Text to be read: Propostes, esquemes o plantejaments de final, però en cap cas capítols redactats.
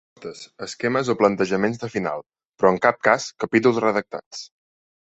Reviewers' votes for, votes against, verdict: 0, 2, rejected